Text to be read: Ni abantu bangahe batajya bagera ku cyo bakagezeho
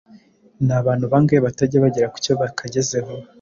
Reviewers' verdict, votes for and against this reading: accepted, 2, 0